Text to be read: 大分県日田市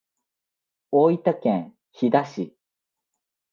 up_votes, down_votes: 1, 2